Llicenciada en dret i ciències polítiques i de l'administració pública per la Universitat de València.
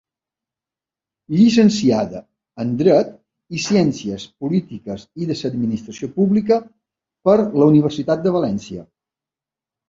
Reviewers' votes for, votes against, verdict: 1, 2, rejected